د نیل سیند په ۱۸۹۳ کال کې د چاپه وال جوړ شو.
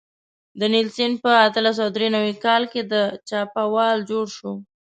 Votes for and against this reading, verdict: 0, 2, rejected